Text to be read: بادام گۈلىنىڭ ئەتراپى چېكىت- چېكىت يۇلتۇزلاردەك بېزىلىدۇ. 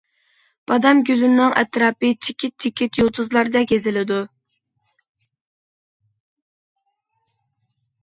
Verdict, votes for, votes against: accepted, 2, 0